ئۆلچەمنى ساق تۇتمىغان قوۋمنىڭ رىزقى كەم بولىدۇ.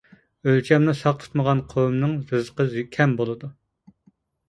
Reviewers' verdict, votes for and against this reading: rejected, 0, 2